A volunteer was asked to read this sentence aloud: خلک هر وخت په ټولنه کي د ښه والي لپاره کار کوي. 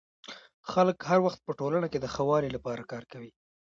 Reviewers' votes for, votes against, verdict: 1, 2, rejected